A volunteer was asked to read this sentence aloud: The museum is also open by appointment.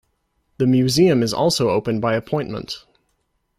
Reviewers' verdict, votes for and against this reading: accepted, 2, 0